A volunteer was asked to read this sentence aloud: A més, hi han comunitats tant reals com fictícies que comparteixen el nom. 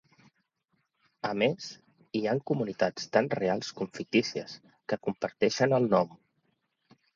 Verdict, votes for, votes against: accepted, 3, 0